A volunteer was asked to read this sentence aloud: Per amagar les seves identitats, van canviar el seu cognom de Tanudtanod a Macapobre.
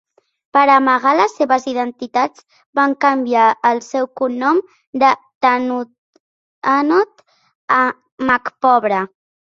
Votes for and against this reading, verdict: 1, 2, rejected